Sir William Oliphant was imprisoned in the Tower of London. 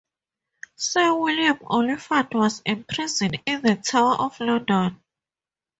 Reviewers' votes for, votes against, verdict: 0, 2, rejected